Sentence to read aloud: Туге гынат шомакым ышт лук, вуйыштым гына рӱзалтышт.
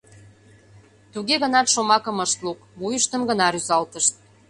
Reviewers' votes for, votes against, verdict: 2, 0, accepted